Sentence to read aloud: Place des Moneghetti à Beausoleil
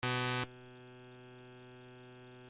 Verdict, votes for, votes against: rejected, 0, 2